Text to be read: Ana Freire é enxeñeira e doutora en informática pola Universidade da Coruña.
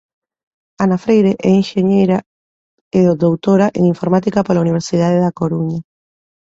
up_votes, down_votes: 2, 1